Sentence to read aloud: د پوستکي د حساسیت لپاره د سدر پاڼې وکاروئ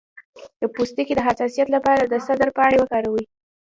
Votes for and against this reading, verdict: 2, 1, accepted